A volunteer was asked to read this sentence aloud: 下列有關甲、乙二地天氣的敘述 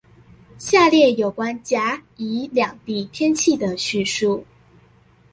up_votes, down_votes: 1, 2